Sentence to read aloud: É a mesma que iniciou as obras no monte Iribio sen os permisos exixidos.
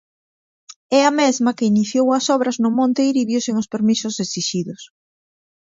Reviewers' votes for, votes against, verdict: 2, 1, accepted